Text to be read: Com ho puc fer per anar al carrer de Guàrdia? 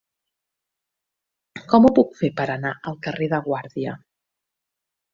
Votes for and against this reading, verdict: 5, 0, accepted